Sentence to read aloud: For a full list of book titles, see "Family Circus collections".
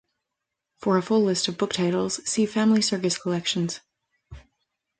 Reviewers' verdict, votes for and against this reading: rejected, 1, 2